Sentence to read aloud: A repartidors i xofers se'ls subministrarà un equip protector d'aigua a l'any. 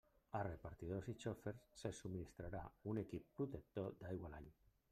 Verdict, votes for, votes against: rejected, 0, 2